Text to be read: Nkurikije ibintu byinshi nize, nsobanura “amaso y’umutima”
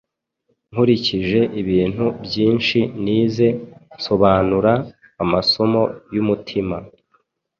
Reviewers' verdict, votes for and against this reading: rejected, 1, 2